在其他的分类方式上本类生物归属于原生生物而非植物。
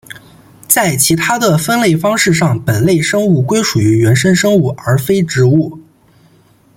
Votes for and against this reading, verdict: 2, 0, accepted